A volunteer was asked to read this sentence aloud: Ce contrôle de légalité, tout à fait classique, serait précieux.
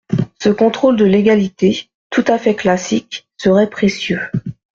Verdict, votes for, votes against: accepted, 2, 0